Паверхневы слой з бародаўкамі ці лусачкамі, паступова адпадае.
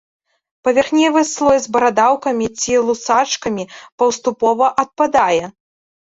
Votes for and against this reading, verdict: 1, 2, rejected